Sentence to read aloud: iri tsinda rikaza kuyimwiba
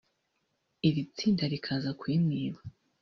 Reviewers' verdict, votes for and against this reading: rejected, 0, 2